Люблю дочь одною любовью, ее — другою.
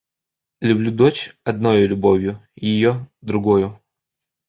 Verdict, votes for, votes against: accepted, 2, 0